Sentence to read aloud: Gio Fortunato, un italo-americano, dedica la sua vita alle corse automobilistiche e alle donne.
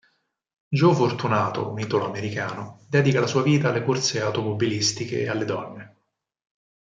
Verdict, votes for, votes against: accepted, 4, 0